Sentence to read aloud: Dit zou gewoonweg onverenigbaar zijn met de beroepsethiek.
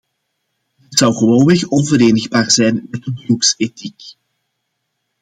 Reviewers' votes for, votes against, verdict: 2, 0, accepted